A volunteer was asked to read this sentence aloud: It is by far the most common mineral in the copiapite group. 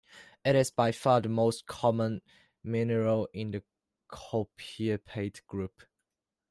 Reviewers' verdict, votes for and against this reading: accepted, 2, 1